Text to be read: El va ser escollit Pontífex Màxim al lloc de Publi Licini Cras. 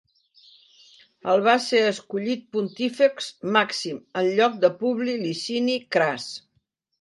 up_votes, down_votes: 2, 0